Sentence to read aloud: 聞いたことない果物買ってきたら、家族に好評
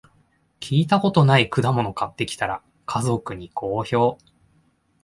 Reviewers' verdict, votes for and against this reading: accepted, 2, 0